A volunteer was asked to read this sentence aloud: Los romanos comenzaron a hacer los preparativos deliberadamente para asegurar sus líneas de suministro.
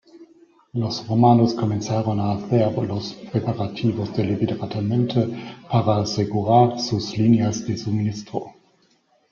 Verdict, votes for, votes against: rejected, 1, 2